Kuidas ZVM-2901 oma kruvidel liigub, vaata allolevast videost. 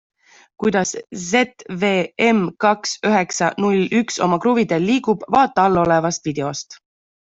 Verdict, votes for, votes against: rejected, 0, 2